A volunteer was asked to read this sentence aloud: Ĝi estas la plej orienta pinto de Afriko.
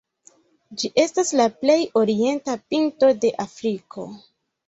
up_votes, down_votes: 1, 2